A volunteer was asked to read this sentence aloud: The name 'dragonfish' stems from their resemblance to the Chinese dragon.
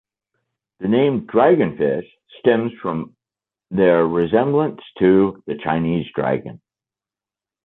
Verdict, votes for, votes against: rejected, 1, 2